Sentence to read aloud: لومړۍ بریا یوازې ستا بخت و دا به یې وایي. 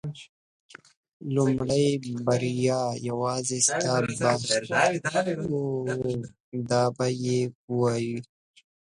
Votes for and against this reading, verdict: 0, 2, rejected